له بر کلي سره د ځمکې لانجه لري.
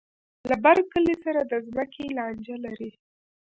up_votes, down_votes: 2, 1